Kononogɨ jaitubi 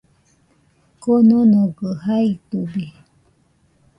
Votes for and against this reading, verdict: 0, 2, rejected